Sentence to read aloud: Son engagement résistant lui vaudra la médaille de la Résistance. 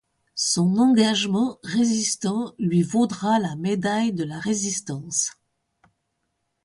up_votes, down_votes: 2, 0